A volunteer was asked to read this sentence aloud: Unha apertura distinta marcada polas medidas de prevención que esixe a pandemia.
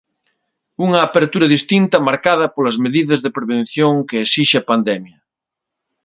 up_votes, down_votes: 1, 2